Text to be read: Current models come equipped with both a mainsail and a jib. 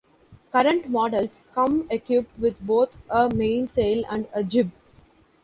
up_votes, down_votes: 2, 3